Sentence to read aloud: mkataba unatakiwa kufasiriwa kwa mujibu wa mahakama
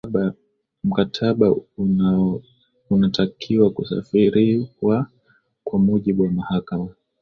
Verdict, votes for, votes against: rejected, 0, 2